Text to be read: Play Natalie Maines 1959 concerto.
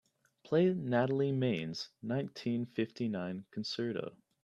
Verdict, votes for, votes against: rejected, 0, 2